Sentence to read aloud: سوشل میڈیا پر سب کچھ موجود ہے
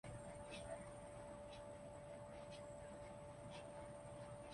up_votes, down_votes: 1, 2